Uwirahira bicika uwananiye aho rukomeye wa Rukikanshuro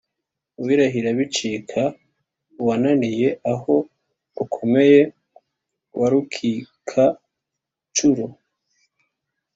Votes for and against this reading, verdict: 2, 0, accepted